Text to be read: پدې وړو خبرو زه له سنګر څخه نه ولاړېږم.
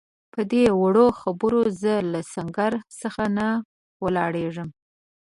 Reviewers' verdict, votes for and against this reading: accepted, 2, 0